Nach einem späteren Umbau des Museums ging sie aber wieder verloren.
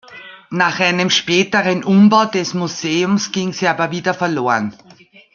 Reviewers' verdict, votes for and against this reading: accepted, 2, 0